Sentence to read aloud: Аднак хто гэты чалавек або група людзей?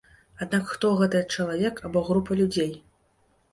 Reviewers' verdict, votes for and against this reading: rejected, 0, 2